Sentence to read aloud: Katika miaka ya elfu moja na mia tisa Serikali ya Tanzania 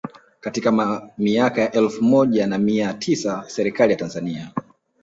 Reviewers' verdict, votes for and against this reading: accepted, 2, 0